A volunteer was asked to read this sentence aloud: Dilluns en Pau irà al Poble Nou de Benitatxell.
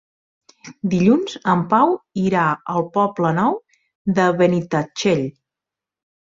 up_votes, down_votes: 4, 0